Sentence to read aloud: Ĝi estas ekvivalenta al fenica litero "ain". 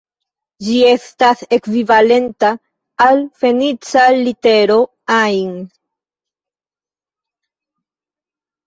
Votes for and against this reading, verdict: 1, 2, rejected